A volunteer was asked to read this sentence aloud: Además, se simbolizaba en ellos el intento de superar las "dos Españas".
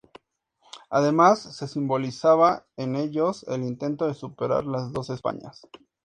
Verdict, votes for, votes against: accepted, 2, 0